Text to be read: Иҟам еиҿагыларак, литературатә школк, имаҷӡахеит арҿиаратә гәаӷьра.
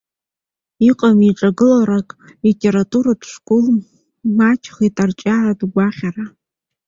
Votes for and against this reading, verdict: 0, 2, rejected